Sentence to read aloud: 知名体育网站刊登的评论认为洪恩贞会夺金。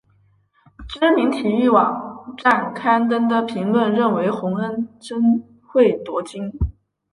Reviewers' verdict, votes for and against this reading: accepted, 3, 0